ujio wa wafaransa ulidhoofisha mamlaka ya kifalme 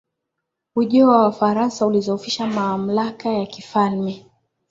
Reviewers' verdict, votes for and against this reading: accepted, 19, 3